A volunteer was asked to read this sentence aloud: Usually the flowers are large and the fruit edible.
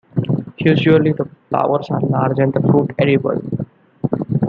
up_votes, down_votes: 1, 2